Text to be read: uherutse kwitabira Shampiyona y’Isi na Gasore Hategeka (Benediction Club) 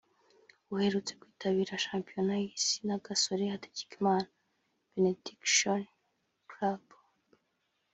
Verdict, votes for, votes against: rejected, 1, 2